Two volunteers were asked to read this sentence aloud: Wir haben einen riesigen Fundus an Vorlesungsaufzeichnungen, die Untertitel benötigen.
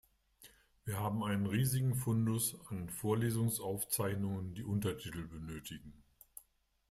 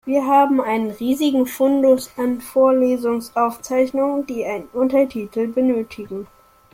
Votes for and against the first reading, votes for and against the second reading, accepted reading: 2, 1, 0, 2, first